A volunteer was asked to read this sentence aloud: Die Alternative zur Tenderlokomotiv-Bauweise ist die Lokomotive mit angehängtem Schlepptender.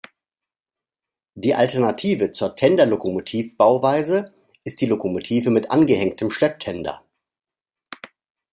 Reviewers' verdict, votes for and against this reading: accepted, 2, 0